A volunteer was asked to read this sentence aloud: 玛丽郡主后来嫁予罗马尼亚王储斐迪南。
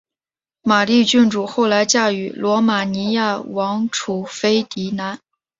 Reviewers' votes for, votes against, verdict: 3, 0, accepted